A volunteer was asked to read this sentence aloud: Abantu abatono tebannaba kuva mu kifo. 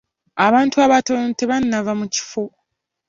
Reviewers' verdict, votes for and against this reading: rejected, 1, 2